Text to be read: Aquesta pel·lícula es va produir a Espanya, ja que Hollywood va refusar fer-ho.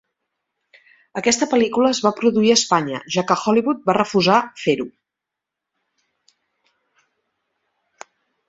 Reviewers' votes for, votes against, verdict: 2, 0, accepted